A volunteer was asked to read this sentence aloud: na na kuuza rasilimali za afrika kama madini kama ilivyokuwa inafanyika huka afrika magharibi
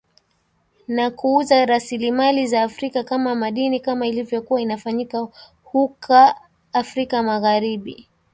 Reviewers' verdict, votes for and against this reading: accepted, 3, 0